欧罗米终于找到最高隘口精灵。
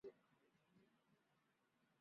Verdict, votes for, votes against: rejected, 0, 2